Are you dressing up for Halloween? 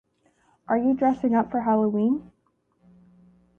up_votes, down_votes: 3, 0